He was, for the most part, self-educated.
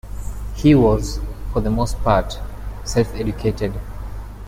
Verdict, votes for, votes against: accepted, 2, 0